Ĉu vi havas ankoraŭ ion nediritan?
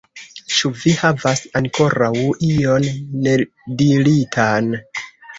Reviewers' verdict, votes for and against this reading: rejected, 1, 2